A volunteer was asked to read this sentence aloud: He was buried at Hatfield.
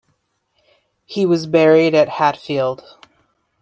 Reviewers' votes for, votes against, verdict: 0, 2, rejected